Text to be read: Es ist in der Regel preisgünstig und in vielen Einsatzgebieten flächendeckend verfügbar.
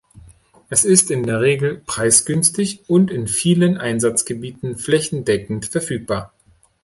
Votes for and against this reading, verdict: 2, 0, accepted